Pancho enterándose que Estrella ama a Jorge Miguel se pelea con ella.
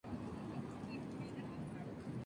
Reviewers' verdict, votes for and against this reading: rejected, 0, 2